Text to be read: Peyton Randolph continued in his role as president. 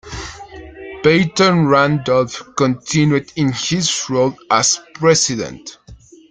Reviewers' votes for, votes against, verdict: 2, 1, accepted